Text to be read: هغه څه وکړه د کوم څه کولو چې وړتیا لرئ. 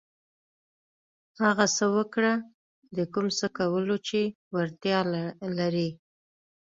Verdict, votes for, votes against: accepted, 2, 0